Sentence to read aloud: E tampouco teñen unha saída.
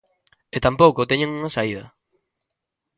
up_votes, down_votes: 2, 0